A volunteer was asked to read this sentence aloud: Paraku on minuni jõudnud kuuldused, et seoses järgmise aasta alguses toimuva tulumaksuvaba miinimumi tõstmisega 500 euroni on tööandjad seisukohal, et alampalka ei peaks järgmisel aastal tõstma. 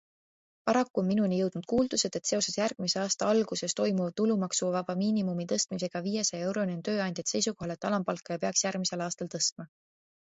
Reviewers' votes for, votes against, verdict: 0, 2, rejected